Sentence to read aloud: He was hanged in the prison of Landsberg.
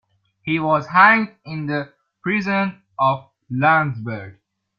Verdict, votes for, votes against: accepted, 2, 0